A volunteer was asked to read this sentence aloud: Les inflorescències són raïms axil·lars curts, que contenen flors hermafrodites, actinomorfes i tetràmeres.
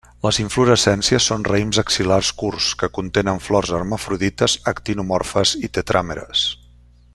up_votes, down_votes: 1, 2